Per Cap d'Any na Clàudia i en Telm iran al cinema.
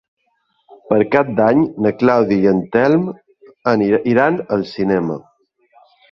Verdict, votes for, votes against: rejected, 0, 3